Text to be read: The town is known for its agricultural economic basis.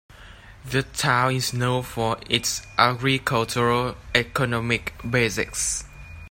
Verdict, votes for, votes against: rejected, 1, 2